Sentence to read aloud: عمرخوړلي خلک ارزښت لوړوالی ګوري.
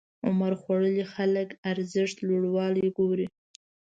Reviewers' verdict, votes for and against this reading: accepted, 2, 0